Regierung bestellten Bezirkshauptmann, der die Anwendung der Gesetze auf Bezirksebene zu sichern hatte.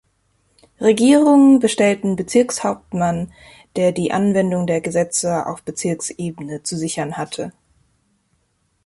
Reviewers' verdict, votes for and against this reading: accepted, 2, 0